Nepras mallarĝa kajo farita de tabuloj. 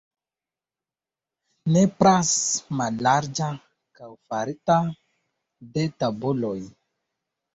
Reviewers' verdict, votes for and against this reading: accepted, 2, 1